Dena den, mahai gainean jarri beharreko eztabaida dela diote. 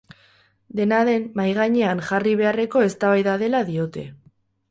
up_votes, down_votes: 6, 0